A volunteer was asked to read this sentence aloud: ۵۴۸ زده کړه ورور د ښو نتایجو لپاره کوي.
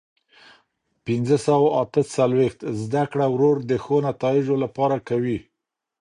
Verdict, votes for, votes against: rejected, 0, 2